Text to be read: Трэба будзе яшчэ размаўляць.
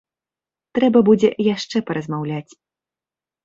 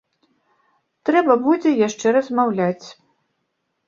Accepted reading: second